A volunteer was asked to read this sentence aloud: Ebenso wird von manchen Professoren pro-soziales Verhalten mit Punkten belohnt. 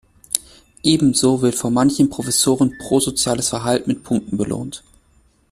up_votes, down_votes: 2, 0